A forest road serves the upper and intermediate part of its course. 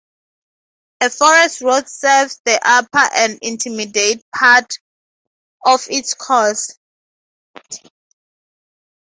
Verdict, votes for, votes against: accepted, 2, 0